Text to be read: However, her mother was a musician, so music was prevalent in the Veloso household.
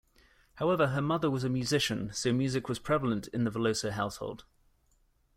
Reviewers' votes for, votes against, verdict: 2, 1, accepted